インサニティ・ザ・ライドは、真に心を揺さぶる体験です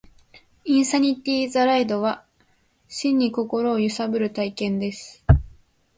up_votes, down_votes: 2, 0